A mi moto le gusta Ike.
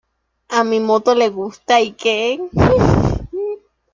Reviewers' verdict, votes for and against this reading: accepted, 2, 0